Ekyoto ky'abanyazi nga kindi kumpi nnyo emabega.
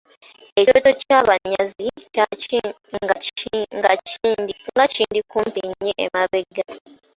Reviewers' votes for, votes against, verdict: 0, 2, rejected